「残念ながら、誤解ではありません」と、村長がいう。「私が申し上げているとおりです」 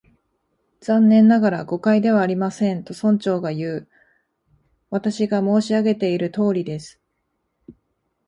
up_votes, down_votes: 4, 0